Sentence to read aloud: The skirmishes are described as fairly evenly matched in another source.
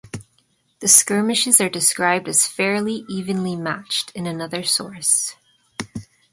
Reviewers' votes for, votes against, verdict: 2, 0, accepted